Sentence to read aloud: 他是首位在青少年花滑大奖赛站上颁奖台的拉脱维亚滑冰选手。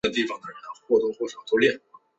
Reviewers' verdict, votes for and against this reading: rejected, 1, 2